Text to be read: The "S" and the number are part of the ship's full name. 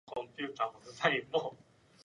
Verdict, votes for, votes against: rejected, 0, 2